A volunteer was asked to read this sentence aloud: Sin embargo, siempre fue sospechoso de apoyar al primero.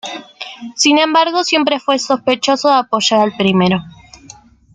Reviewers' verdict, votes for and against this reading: accepted, 2, 0